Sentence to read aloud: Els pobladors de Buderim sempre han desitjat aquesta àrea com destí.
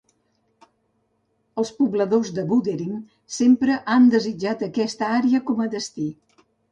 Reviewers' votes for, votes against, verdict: 1, 2, rejected